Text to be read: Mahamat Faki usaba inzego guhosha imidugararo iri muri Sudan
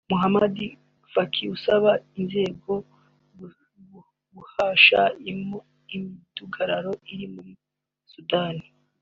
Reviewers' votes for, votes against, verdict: 0, 2, rejected